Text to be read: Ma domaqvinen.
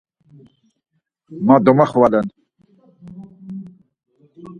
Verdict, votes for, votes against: rejected, 0, 4